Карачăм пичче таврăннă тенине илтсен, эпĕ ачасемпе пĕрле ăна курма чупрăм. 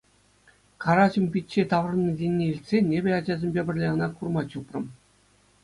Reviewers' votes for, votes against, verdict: 2, 0, accepted